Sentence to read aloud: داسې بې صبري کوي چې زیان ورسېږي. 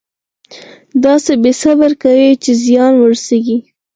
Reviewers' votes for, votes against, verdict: 2, 4, rejected